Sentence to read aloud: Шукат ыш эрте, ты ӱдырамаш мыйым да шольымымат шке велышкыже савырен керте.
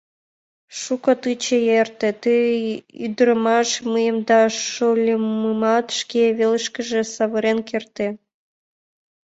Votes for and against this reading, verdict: 0, 2, rejected